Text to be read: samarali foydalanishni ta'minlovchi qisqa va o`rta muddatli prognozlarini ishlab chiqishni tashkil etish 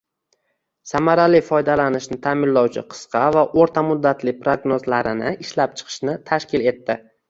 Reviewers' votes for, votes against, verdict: 1, 2, rejected